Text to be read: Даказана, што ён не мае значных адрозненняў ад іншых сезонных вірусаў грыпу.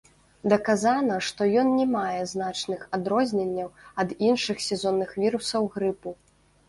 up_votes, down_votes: 1, 2